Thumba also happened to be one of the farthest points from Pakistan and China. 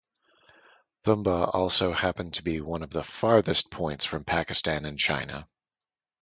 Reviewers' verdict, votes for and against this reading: accepted, 2, 0